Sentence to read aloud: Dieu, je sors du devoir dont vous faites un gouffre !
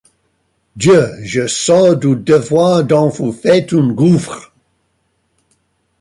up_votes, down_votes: 0, 2